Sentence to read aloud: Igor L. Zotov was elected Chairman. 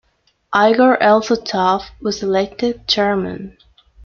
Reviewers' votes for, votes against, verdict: 1, 2, rejected